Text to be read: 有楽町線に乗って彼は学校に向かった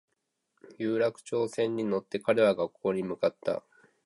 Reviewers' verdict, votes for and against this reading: accepted, 2, 0